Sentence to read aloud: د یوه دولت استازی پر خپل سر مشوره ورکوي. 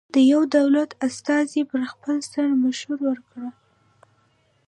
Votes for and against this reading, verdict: 2, 0, accepted